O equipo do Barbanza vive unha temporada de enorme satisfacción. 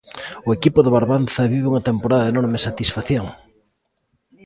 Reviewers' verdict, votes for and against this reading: accepted, 2, 0